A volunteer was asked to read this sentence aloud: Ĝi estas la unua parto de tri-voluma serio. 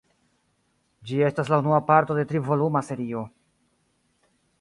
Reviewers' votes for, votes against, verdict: 1, 2, rejected